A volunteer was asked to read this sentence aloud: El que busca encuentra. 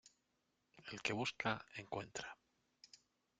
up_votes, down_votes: 1, 2